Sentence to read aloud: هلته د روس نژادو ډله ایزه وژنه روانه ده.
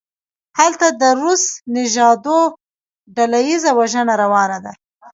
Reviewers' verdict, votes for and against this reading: rejected, 0, 2